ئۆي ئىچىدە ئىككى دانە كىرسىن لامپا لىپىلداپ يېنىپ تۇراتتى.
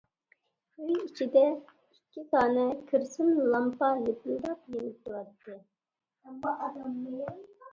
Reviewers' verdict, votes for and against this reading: rejected, 0, 2